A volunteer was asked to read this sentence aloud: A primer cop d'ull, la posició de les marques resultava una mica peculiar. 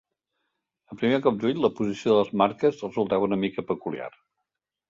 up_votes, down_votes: 0, 2